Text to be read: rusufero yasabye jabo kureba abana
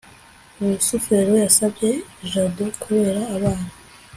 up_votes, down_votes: 1, 2